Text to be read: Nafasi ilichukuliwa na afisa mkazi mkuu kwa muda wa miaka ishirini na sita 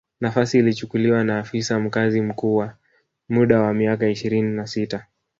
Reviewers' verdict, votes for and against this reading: rejected, 1, 2